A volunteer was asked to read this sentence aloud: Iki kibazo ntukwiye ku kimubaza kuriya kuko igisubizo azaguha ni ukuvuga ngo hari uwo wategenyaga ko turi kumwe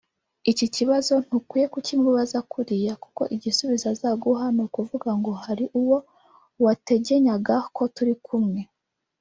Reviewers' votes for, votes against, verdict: 1, 2, rejected